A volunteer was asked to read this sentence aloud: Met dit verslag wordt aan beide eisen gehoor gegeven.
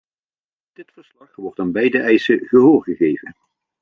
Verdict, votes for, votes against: rejected, 0, 2